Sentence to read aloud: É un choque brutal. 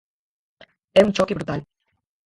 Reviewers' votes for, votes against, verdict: 0, 4, rejected